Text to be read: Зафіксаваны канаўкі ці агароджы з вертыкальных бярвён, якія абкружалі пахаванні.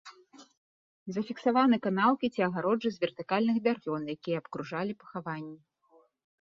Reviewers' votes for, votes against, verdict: 2, 0, accepted